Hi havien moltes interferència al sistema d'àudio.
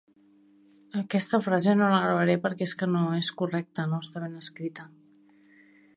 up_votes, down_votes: 0, 2